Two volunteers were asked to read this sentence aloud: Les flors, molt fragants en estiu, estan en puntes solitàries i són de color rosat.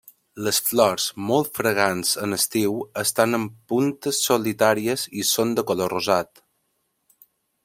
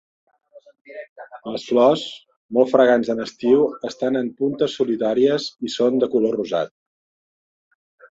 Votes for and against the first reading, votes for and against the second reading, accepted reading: 2, 0, 1, 2, first